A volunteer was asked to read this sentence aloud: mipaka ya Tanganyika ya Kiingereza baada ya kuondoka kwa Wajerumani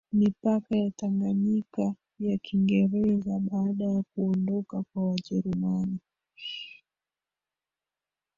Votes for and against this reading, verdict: 1, 2, rejected